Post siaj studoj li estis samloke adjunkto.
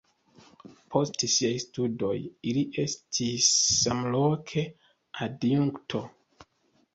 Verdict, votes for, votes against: accepted, 3, 0